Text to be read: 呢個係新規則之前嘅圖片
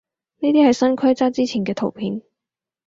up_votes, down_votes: 0, 4